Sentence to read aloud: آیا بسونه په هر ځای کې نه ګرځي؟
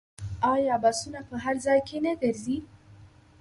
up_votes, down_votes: 0, 2